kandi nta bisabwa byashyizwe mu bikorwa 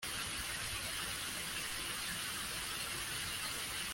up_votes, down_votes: 0, 2